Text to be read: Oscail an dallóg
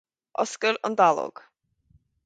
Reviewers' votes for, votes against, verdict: 4, 0, accepted